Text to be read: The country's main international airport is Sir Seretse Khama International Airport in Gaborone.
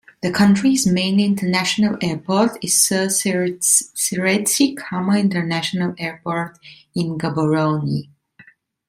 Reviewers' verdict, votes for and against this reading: rejected, 0, 2